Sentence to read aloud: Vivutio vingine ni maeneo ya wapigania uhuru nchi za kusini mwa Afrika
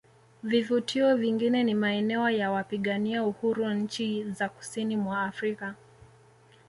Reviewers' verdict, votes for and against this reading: accepted, 2, 0